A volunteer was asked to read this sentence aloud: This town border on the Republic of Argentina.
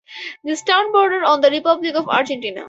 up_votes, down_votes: 4, 0